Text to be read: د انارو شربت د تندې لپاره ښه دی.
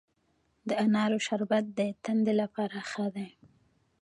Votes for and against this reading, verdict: 2, 1, accepted